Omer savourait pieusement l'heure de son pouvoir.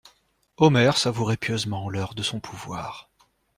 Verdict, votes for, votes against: accepted, 2, 0